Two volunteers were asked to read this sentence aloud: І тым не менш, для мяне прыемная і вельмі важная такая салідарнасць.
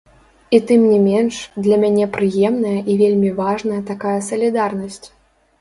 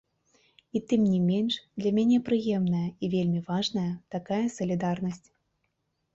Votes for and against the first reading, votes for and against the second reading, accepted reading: 1, 2, 2, 0, second